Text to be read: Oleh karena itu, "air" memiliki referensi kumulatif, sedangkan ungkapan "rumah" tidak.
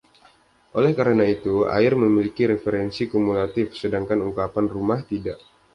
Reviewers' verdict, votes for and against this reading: accepted, 2, 0